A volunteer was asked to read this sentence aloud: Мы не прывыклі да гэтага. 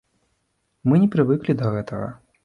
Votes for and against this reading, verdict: 2, 0, accepted